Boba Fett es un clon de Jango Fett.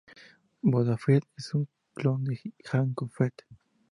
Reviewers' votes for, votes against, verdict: 0, 2, rejected